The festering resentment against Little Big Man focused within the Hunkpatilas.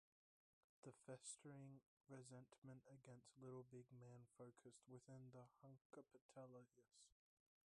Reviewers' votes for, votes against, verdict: 0, 2, rejected